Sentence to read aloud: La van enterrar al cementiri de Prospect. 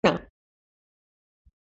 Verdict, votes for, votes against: rejected, 0, 3